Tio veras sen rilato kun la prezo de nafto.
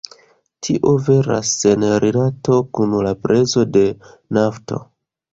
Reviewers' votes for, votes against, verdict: 2, 0, accepted